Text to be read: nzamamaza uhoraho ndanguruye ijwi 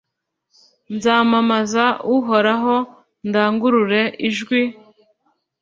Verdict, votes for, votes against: rejected, 1, 2